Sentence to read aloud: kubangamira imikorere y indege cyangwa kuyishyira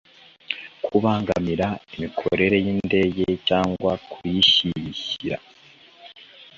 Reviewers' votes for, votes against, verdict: 2, 0, accepted